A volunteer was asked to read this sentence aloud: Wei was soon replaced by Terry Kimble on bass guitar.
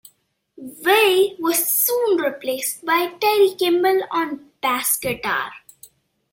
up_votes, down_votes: 1, 2